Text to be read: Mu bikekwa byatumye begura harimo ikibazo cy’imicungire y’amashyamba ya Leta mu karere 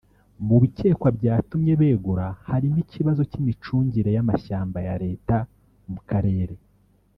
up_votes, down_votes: 2, 0